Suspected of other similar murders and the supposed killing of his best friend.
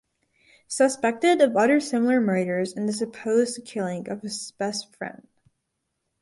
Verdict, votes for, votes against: accepted, 2, 0